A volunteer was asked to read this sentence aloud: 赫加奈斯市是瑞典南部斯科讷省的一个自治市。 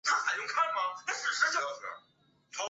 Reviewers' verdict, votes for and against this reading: rejected, 1, 3